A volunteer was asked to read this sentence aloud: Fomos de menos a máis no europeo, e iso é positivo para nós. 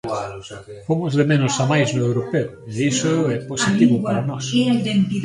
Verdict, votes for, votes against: rejected, 1, 2